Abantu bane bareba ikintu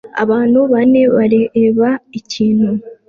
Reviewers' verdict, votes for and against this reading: accepted, 2, 0